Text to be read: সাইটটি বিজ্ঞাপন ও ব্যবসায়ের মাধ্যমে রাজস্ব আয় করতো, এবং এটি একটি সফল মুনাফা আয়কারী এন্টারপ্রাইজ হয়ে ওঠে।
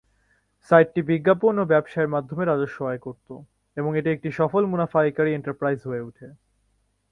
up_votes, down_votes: 2, 0